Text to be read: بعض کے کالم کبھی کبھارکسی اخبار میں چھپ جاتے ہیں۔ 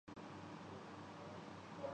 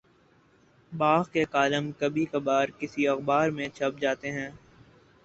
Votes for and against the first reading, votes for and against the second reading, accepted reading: 0, 2, 4, 0, second